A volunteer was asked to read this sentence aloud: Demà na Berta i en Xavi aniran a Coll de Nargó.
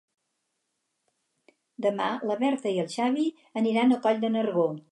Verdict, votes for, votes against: rejected, 0, 4